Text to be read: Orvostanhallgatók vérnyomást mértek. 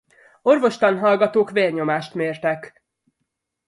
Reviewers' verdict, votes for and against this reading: accepted, 2, 0